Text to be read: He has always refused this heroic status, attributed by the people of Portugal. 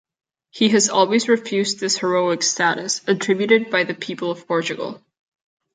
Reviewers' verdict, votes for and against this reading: accepted, 2, 0